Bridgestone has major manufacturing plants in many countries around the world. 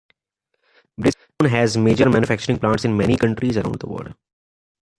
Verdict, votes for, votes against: accepted, 2, 0